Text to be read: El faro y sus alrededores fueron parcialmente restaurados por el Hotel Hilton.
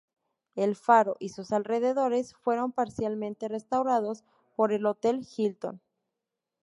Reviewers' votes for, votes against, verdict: 0, 2, rejected